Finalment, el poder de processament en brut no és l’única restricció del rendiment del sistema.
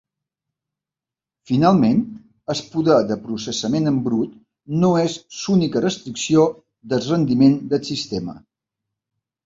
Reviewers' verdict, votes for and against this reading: rejected, 1, 2